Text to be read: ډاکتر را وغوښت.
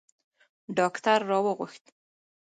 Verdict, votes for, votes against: accepted, 2, 0